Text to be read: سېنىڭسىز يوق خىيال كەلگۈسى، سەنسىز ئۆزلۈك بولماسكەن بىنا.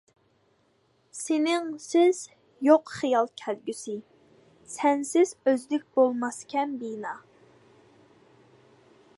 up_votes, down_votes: 2, 0